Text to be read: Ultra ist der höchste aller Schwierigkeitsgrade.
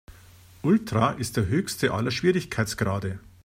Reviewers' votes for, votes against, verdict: 2, 0, accepted